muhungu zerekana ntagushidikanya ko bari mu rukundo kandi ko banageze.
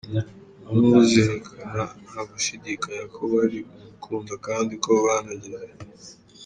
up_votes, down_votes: 3, 1